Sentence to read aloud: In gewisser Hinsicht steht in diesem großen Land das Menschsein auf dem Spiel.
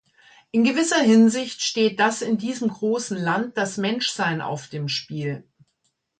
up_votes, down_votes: 1, 2